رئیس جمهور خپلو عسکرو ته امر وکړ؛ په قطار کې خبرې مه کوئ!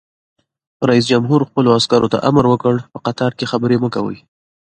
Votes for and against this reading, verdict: 2, 0, accepted